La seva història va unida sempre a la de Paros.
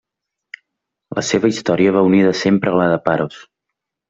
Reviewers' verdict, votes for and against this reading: accepted, 3, 0